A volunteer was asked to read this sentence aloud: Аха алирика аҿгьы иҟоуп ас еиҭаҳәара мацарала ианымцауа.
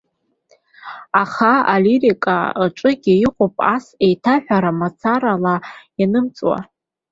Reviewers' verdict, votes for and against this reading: rejected, 0, 3